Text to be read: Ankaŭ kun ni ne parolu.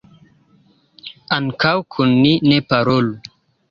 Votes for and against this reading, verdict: 2, 0, accepted